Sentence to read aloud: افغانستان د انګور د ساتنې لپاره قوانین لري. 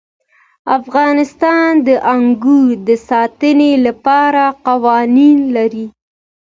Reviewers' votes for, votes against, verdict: 2, 0, accepted